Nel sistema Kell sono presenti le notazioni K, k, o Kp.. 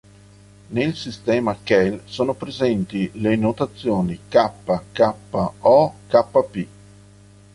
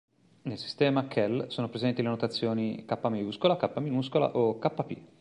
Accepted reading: first